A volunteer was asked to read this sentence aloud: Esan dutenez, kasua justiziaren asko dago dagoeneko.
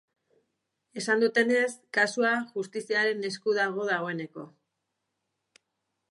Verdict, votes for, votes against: rejected, 2, 2